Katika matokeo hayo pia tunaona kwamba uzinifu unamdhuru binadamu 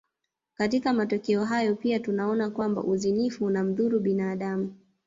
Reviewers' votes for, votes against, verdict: 1, 2, rejected